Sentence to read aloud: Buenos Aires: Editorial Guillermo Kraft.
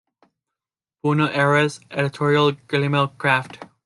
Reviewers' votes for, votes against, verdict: 0, 2, rejected